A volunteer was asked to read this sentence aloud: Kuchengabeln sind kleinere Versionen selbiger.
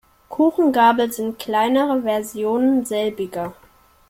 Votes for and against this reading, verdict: 2, 1, accepted